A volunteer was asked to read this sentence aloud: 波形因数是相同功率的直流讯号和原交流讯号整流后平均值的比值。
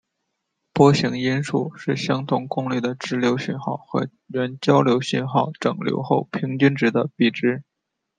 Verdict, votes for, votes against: rejected, 0, 2